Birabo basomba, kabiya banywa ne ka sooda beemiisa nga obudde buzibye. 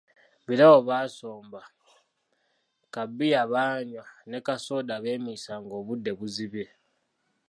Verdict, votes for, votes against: rejected, 1, 2